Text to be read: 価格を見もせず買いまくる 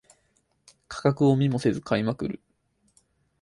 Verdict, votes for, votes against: accepted, 6, 0